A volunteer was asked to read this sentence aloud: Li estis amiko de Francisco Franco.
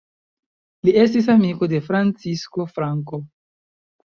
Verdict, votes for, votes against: accepted, 2, 0